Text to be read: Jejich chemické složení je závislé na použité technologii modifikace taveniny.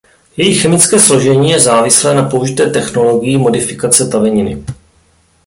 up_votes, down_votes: 2, 0